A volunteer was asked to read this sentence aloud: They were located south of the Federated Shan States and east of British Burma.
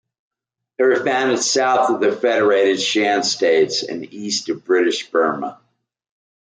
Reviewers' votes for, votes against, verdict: 0, 2, rejected